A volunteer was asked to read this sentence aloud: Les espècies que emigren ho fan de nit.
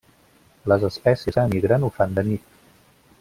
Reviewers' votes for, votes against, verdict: 0, 2, rejected